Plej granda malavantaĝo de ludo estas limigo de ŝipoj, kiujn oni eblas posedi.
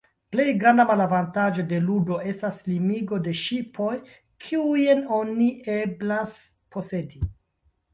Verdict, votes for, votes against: accepted, 2, 0